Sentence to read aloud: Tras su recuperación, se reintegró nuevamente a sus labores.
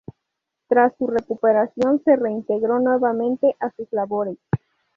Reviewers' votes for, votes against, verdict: 2, 0, accepted